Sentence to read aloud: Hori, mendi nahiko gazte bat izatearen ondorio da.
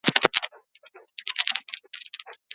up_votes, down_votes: 0, 4